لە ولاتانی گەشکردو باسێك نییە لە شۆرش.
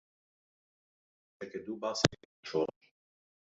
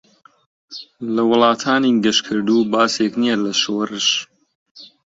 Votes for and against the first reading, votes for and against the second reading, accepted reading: 0, 2, 2, 0, second